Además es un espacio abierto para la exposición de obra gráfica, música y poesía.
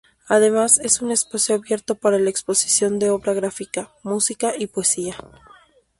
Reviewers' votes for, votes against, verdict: 2, 0, accepted